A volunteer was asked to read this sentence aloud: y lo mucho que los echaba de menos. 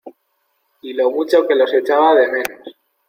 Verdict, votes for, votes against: accepted, 2, 0